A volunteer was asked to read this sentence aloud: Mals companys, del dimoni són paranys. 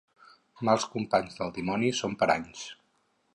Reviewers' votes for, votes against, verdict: 4, 0, accepted